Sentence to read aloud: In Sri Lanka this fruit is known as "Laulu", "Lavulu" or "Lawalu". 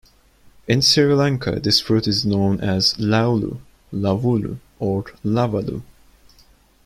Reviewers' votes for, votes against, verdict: 2, 0, accepted